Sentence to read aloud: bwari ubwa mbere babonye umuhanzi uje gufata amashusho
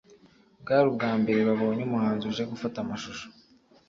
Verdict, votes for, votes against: accepted, 3, 0